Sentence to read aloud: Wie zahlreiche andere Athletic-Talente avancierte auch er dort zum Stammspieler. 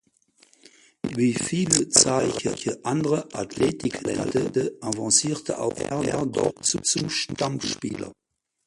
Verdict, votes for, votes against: rejected, 0, 4